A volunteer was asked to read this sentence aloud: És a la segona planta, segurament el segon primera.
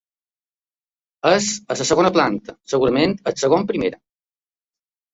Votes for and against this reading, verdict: 0, 2, rejected